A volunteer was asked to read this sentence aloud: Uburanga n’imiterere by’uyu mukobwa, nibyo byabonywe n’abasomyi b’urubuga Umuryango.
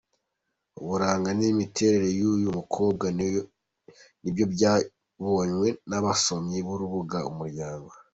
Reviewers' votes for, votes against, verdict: 1, 2, rejected